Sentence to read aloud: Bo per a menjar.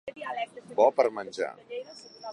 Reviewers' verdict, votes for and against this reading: rejected, 0, 2